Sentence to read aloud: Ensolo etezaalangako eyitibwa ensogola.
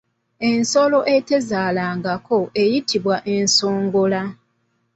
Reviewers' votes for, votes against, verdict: 0, 2, rejected